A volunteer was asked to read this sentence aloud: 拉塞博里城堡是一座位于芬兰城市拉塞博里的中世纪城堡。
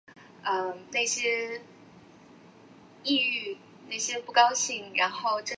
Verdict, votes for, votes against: rejected, 0, 3